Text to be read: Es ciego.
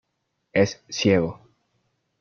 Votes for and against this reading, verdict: 1, 2, rejected